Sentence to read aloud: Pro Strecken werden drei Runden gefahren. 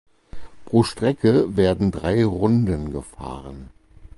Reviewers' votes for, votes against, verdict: 0, 4, rejected